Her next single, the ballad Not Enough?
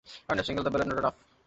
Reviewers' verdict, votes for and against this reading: rejected, 0, 2